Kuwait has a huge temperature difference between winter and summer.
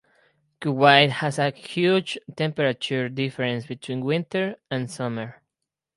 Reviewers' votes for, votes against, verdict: 6, 0, accepted